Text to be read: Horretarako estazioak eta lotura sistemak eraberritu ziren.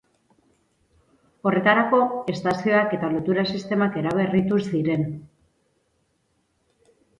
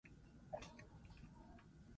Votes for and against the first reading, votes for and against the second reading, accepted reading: 4, 0, 2, 6, first